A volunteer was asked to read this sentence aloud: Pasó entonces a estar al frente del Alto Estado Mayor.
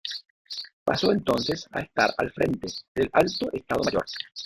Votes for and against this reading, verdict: 0, 2, rejected